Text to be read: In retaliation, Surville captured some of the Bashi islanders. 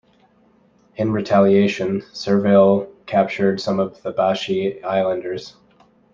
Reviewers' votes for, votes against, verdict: 1, 2, rejected